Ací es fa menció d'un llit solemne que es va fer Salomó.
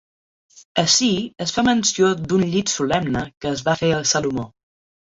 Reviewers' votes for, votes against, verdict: 0, 2, rejected